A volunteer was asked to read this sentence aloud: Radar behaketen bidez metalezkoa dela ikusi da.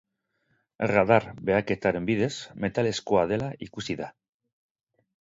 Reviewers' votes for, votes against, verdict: 0, 4, rejected